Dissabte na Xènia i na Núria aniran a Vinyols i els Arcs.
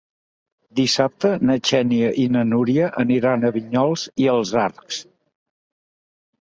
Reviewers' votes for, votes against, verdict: 2, 0, accepted